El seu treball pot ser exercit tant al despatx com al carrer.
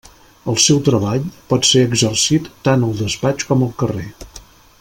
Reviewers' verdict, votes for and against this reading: accepted, 2, 0